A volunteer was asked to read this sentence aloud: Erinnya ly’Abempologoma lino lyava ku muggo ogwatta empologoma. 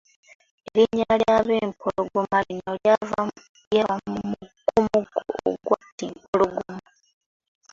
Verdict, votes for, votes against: rejected, 0, 2